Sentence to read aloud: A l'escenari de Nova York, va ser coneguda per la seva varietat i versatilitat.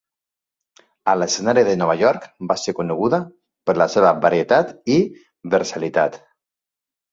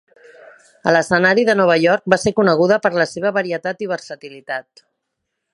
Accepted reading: second